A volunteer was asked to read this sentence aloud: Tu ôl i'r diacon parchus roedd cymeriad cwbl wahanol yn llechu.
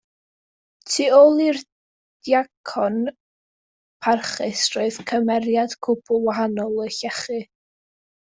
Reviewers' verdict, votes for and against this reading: accepted, 2, 0